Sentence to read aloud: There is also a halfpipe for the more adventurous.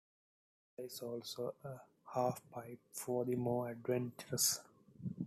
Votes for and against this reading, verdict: 2, 1, accepted